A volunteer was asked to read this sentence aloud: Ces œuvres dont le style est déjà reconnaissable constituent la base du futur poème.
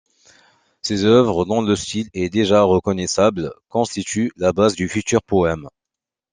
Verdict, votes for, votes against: accepted, 2, 1